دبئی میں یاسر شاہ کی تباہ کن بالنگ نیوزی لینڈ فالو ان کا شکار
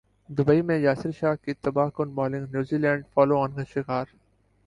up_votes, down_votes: 2, 0